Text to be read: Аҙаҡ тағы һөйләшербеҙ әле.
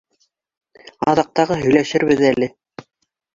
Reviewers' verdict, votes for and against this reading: accepted, 2, 1